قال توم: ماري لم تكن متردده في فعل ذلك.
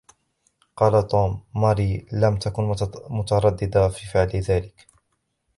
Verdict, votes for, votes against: rejected, 1, 2